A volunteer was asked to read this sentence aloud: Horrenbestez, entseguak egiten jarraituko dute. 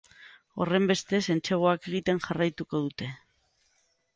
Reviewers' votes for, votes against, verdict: 9, 0, accepted